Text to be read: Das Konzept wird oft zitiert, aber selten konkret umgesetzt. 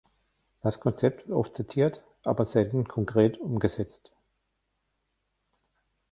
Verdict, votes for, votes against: rejected, 1, 2